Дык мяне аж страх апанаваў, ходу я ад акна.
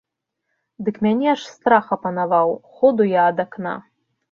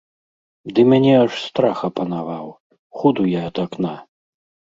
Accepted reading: first